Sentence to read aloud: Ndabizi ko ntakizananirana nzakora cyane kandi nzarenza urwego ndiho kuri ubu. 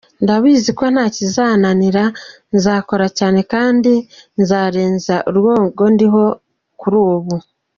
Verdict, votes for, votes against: rejected, 0, 2